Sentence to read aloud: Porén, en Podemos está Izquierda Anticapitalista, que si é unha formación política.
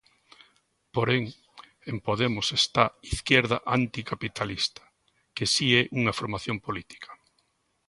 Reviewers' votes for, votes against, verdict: 2, 0, accepted